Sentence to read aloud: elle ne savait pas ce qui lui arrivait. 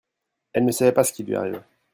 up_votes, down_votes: 1, 2